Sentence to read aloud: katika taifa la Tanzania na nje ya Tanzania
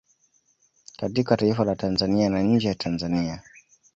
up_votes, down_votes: 1, 2